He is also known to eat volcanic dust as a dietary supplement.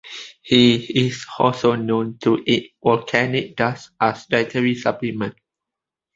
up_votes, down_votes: 2, 1